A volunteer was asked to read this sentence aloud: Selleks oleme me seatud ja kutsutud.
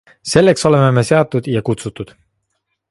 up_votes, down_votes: 2, 0